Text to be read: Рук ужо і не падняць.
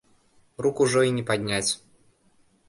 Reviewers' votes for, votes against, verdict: 2, 0, accepted